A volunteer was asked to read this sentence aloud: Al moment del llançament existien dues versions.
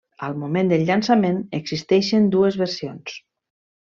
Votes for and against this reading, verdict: 1, 2, rejected